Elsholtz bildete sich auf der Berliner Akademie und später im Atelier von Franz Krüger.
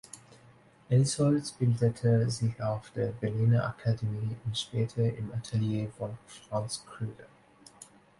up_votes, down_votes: 2, 0